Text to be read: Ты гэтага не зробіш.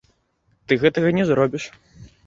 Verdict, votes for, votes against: rejected, 1, 2